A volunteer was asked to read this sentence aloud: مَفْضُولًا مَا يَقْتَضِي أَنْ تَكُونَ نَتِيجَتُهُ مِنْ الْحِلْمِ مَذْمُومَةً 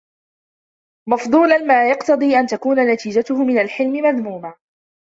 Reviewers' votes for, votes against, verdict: 2, 0, accepted